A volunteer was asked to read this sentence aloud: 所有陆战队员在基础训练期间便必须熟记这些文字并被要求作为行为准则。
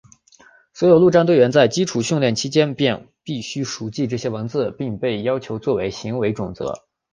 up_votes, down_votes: 3, 0